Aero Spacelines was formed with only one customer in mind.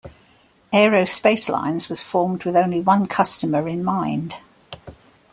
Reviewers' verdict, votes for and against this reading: accepted, 2, 0